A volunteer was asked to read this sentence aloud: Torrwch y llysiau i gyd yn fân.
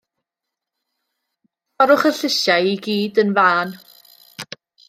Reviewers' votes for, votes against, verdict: 1, 2, rejected